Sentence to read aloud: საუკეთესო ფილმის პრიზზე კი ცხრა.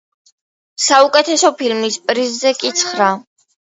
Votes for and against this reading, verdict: 2, 0, accepted